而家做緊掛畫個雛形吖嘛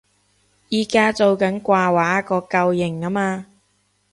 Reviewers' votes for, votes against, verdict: 0, 2, rejected